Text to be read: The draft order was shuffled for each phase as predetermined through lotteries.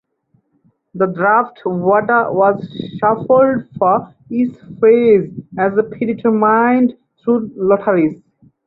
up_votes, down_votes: 2, 4